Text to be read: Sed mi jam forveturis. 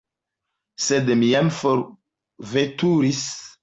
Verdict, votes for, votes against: accepted, 2, 0